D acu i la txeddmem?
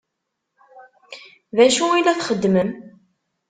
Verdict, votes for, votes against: accepted, 2, 0